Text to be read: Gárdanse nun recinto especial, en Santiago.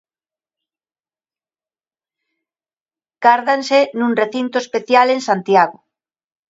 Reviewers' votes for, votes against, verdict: 2, 0, accepted